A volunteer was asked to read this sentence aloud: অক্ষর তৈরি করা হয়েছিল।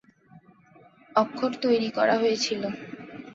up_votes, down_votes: 2, 0